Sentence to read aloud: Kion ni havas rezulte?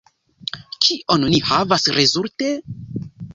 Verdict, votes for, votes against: accepted, 3, 0